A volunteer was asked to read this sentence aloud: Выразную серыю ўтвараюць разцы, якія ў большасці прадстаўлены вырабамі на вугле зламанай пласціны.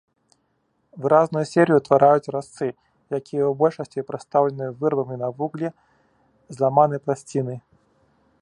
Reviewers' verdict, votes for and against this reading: rejected, 0, 2